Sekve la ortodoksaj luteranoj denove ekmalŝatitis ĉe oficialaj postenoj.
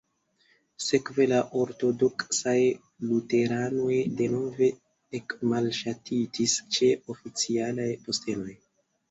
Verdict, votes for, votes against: rejected, 1, 2